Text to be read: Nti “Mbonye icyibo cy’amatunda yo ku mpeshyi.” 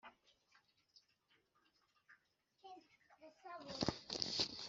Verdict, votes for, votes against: rejected, 0, 2